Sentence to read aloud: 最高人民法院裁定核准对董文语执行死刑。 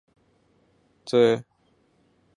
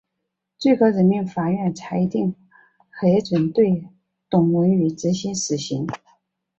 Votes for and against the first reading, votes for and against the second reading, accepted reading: 0, 2, 2, 0, second